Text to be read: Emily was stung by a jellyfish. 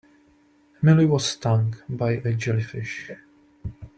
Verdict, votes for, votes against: rejected, 1, 2